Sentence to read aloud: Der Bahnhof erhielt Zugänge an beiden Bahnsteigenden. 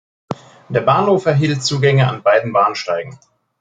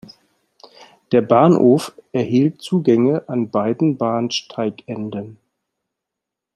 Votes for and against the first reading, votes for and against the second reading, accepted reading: 0, 2, 2, 0, second